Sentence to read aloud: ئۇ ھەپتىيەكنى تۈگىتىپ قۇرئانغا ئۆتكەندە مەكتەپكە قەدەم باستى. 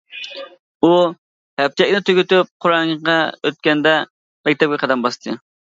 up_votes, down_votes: 0, 2